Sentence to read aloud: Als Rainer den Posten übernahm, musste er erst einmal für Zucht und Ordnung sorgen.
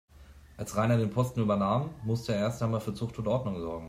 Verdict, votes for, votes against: accepted, 2, 0